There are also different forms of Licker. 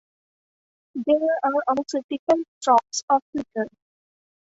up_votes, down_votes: 0, 2